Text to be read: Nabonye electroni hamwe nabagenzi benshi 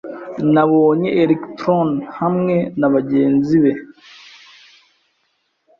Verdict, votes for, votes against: rejected, 0, 2